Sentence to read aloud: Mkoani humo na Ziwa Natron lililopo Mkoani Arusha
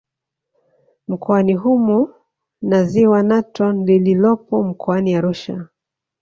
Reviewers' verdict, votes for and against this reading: accepted, 2, 1